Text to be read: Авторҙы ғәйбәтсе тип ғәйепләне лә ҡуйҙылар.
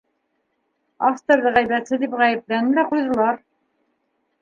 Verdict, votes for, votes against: rejected, 0, 2